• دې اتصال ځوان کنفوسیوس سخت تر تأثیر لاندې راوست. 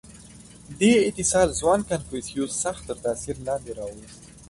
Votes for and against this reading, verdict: 2, 0, accepted